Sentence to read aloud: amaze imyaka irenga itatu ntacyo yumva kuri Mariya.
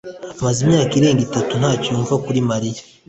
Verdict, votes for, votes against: accepted, 2, 0